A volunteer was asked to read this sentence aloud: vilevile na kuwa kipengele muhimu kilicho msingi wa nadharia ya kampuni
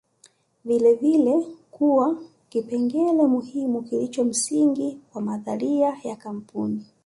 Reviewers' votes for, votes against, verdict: 1, 2, rejected